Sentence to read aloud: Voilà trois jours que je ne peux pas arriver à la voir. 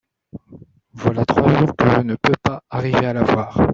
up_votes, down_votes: 1, 2